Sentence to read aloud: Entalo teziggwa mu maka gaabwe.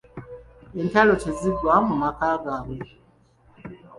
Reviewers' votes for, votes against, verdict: 2, 1, accepted